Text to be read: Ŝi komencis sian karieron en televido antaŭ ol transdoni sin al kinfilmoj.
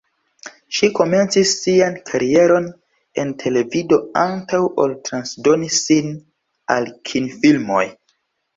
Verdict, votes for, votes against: accepted, 2, 1